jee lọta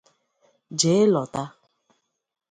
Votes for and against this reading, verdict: 2, 0, accepted